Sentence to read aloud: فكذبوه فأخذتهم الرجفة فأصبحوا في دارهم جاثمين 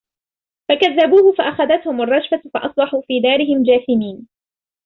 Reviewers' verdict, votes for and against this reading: rejected, 0, 2